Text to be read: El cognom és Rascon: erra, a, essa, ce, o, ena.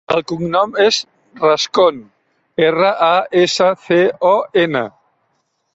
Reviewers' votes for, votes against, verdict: 0, 2, rejected